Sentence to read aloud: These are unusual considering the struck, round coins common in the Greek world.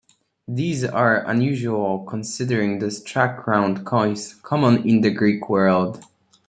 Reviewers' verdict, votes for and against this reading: accepted, 2, 0